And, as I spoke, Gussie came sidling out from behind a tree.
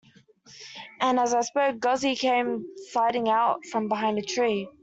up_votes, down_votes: 1, 2